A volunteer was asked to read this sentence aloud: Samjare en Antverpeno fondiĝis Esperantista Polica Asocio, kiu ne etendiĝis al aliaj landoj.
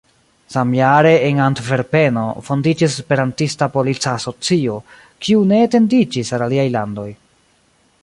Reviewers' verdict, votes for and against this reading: rejected, 1, 2